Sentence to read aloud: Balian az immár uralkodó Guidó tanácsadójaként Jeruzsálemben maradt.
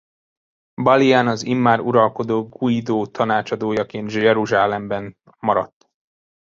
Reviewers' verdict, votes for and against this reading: rejected, 0, 2